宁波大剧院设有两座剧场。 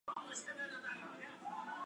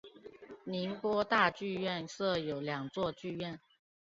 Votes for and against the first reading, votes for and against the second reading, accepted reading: 3, 4, 4, 1, second